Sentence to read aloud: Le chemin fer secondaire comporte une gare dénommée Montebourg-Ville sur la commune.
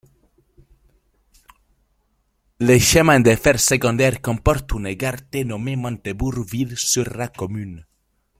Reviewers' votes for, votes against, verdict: 0, 2, rejected